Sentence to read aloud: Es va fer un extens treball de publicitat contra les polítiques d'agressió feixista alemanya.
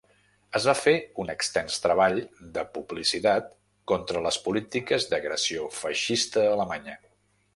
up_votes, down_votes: 2, 0